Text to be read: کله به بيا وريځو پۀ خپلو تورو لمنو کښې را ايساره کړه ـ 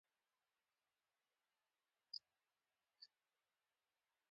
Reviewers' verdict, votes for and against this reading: rejected, 1, 2